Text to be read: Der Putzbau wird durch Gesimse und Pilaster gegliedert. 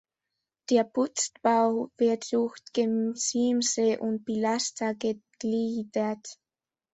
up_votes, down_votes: 1, 2